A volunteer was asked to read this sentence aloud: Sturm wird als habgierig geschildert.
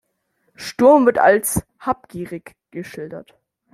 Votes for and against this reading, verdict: 2, 1, accepted